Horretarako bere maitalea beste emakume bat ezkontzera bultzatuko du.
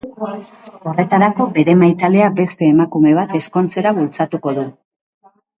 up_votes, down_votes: 0, 2